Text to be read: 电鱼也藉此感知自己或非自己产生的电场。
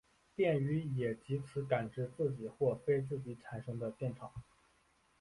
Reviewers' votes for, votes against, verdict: 1, 2, rejected